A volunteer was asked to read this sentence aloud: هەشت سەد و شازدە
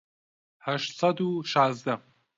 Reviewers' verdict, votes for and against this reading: accepted, 2, 0